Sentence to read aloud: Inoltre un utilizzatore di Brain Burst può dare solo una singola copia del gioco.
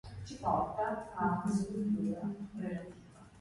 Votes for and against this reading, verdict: 1, 2, rejected